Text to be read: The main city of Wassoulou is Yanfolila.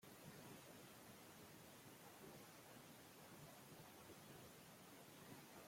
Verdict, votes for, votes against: rejected, 0, 2